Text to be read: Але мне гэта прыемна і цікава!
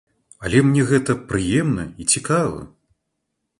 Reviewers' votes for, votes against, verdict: 2, 0, accepted